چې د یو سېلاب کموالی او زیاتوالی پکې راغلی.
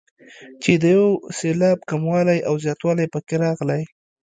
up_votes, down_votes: 1, 2